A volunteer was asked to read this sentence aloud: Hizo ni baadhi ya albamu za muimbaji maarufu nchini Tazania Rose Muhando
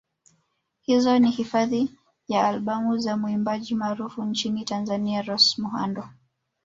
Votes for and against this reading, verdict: 1, 2, rejected